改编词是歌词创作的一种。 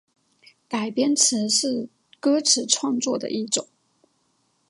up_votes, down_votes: 0, 2